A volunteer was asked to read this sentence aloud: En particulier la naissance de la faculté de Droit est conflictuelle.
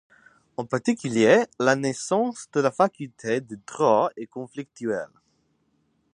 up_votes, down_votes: 4, 0